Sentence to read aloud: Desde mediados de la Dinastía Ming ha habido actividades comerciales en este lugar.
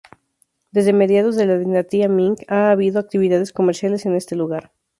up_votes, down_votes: 0, 2